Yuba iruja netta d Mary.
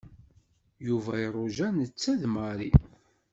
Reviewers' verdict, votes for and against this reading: accepted, 2, 0